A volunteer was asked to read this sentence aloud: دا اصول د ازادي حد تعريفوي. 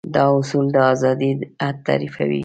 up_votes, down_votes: 1, 2